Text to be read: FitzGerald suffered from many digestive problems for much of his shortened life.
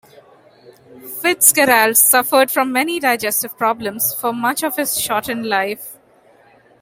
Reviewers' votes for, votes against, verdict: 2, 1, accepted